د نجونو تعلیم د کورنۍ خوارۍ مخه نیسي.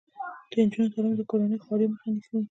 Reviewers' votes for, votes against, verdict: 1, 2, rejected